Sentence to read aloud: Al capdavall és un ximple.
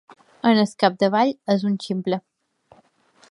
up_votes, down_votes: 2, 0